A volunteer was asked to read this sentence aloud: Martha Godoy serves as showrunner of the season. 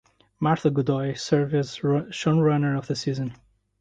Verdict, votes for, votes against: rejected, 0, 2